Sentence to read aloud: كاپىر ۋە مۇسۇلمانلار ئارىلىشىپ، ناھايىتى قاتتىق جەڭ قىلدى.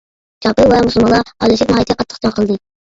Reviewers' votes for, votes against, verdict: 1, 2, rejected